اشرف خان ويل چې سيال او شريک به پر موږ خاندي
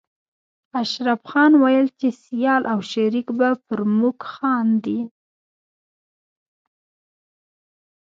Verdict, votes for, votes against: rejected, 1, 2